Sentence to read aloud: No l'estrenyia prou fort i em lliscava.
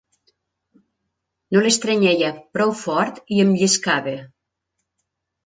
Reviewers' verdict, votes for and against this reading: rejected, 1, 2